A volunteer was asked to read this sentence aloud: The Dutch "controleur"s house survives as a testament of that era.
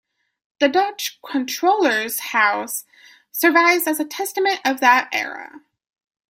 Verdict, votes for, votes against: accepted, 2, 0